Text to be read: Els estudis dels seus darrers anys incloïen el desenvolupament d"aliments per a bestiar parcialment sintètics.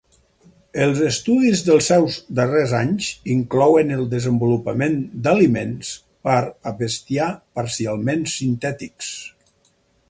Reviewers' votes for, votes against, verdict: 4, 0, accepted